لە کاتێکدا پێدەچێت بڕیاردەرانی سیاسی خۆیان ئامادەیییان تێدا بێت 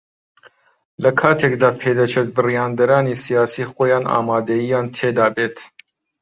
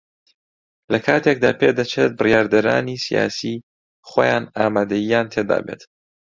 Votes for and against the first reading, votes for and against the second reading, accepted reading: 1, 2, 2, 0, second